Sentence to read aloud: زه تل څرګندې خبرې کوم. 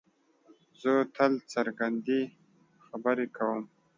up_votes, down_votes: 2, 0